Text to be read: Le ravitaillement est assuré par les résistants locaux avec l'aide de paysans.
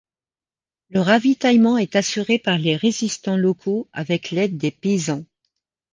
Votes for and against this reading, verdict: 1, 2, rejected